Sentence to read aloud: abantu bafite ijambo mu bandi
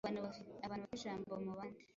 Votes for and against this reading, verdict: 0, 2, rejected